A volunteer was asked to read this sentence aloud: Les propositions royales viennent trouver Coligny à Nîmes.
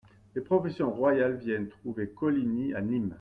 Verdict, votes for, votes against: accepted, 2, 0